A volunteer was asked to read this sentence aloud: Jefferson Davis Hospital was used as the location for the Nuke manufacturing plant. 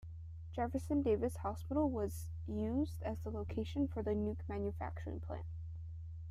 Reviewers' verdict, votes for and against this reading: accepted, 2, 1